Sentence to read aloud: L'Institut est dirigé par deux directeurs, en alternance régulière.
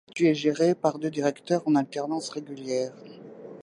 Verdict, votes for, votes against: rejected, 0, 2